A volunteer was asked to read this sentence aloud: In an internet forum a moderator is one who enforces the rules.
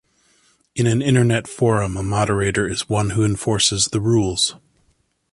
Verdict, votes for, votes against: accepted, 2, 0